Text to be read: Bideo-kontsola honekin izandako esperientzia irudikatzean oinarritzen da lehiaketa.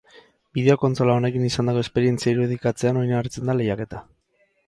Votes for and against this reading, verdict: 10, 0, accepted